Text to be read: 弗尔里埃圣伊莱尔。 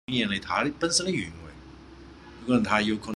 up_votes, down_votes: 0, 2